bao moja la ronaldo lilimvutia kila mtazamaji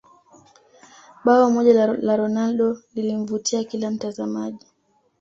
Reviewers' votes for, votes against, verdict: 2, 0, accepted